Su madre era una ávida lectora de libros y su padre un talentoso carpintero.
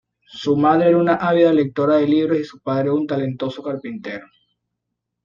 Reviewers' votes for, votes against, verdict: 2, 0, accepted